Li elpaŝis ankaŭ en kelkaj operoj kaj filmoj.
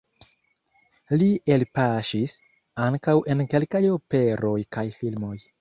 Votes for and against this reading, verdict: 2, 0, accepted